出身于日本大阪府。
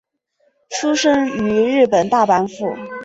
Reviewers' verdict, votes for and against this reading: accepted, 6, 2